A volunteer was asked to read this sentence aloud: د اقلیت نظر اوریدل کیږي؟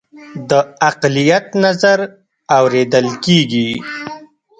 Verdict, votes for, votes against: rejected, 0, 2